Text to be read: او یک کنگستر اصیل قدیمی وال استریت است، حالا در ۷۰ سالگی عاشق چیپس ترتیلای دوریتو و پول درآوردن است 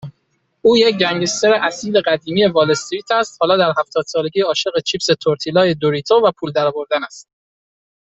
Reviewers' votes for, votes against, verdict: 0, 2, rejected